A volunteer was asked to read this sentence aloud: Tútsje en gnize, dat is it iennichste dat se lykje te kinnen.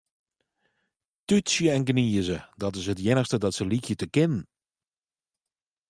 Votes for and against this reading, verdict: 2, 0, accepted